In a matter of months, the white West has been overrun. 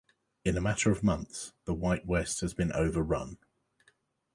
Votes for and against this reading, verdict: 2, 0, accepted